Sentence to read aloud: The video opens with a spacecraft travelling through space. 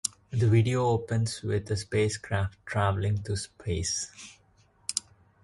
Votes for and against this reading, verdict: 2, 1, accepted